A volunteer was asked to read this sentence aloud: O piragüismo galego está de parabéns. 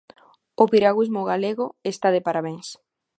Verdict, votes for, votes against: accepted, 2, 0